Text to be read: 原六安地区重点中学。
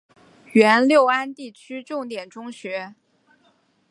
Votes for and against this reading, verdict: 4, 0, accepted